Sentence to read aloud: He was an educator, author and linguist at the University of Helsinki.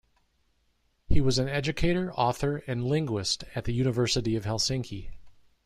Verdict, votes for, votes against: accepted, 2, 0